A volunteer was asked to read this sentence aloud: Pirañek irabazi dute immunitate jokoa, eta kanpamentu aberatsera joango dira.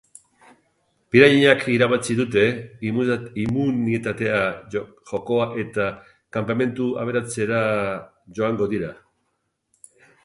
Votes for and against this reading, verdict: 0, 2, rejected